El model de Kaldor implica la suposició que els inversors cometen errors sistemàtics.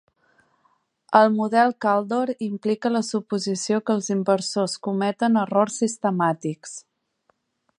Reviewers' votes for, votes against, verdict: 1, 2, rejected